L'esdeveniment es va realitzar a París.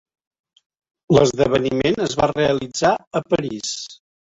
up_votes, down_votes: 3, 0